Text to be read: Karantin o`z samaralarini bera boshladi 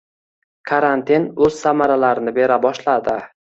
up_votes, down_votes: 3, 0